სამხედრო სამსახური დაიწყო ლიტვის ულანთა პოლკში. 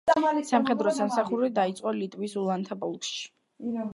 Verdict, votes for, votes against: rejected, 0, 2